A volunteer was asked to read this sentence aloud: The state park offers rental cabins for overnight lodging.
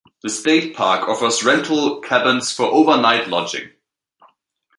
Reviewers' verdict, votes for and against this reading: rejected, 1, 2